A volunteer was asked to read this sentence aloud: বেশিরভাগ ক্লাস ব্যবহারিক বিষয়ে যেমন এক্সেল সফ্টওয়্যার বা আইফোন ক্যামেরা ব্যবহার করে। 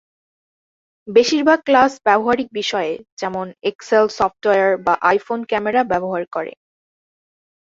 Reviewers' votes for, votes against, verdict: 5, 1, accepted